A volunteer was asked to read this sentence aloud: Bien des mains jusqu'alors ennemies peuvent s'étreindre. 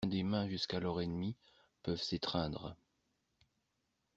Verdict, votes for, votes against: rejected, 0, 2